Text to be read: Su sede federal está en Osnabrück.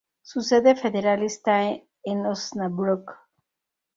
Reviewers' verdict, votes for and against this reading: rejected, 2, 2